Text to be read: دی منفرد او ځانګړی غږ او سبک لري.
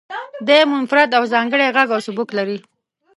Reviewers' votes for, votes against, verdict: 1, 2, rejected